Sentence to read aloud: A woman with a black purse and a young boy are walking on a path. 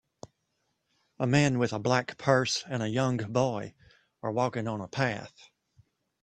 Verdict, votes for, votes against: rejected, 0, 2